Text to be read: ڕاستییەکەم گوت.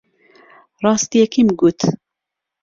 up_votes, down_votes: 0, 2